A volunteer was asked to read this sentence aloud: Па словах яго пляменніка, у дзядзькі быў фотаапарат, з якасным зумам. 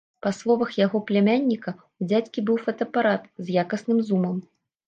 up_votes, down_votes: 0, 2